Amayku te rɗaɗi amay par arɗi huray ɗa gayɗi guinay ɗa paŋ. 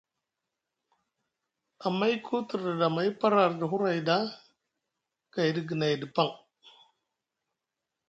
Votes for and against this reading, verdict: 2, 0, accepted